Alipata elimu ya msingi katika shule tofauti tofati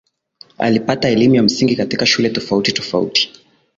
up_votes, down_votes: 2, 0